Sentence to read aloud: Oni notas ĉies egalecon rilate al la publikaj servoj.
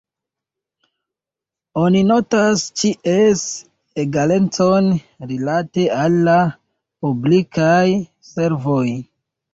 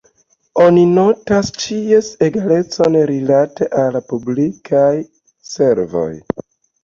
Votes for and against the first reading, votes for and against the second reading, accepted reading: 1, 2, 2, 0, second